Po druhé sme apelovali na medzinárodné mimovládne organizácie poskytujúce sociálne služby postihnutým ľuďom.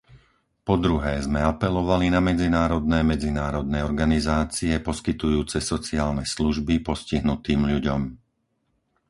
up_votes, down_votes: 0, 4